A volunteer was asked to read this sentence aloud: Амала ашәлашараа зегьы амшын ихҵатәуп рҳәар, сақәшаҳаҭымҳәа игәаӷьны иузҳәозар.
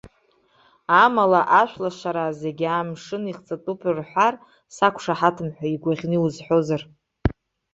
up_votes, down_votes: 1, 2